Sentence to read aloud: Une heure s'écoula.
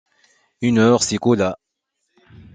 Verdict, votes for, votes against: accepted, 2, 0